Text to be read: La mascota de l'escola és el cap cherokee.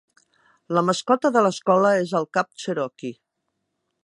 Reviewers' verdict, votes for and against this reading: accepted, 2, 0